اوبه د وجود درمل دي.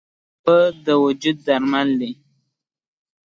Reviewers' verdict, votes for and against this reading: accepted, 3, 0